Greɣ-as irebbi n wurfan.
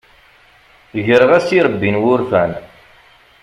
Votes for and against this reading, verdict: 2, 0, accepted